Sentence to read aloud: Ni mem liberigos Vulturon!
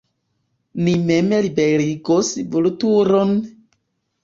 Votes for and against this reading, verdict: 2, 0, accepted